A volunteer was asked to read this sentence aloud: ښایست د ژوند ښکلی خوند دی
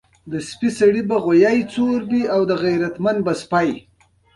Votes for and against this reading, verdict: 2, 1, accepted